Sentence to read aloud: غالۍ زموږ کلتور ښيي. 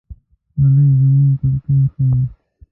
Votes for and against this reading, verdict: 0, 2, rejected